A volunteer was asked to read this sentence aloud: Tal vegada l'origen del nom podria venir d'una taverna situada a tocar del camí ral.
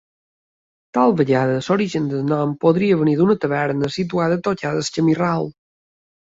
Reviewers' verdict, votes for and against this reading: accepted, 2, 0